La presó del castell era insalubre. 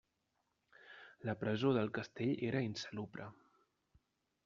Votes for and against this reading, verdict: 0, 2, rejected